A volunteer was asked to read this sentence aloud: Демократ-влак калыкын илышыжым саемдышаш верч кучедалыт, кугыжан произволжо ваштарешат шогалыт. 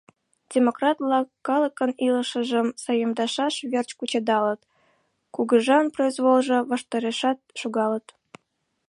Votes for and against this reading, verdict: 2, 0, accepted